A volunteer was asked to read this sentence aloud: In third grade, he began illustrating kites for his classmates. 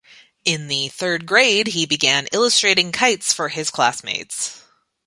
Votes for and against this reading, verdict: 1, 2, rejected